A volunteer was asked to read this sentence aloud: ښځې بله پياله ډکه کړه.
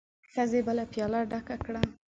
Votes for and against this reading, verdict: 7, 0, accepted